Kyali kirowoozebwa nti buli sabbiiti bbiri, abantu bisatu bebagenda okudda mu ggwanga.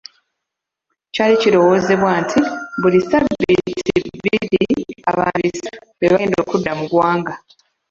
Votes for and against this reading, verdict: 0, 2, rejected